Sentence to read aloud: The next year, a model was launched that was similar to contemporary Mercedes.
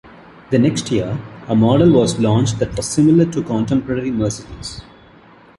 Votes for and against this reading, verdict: 2, 1, accepted